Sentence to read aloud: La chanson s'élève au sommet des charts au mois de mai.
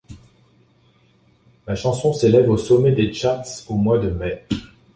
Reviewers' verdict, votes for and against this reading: accepted, 2, 1